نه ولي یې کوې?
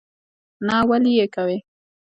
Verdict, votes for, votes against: rejected, 1, 2